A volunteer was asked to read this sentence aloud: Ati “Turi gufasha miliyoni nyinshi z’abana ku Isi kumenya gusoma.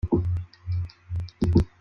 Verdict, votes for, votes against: rejected, 0, 2